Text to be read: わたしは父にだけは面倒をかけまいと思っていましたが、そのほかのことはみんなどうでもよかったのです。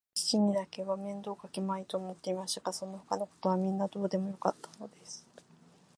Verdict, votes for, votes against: rejected, 2, 3